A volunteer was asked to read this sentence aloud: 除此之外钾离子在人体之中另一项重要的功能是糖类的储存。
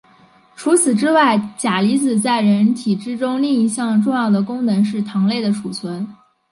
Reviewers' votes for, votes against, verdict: 2, 0, accepted